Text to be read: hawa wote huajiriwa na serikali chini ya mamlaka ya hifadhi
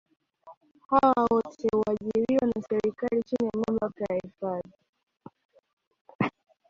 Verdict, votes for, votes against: rejected, 1, 2